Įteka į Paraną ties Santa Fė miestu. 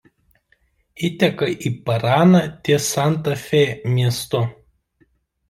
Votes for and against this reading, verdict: 0, 2, rejected